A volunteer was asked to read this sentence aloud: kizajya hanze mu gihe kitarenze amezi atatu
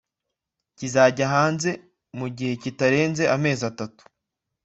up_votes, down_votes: 2, 0